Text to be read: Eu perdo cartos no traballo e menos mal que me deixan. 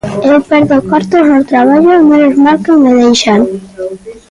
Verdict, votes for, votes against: accepted, 2, 0